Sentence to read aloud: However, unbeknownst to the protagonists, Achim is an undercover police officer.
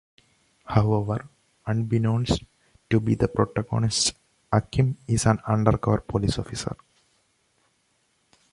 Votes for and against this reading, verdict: 1, 2, rejected